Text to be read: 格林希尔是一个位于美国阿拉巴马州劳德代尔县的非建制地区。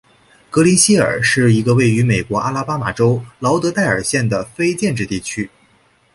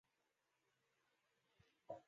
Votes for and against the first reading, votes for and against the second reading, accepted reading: 2, 0, 0, 2, first